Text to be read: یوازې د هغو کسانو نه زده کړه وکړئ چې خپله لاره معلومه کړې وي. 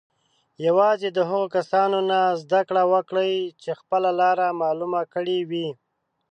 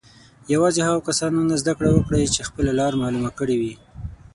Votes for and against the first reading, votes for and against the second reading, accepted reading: 2, 0, 0, 6, first